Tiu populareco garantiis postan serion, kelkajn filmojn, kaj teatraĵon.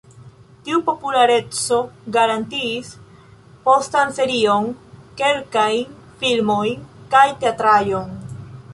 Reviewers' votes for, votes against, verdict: 0, 2, rejected